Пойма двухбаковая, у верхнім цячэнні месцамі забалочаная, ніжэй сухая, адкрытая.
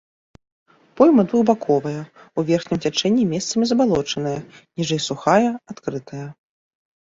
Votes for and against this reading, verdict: 2, 0, accepted